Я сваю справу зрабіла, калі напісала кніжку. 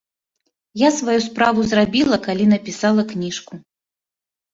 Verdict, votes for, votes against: accepted, 2, 0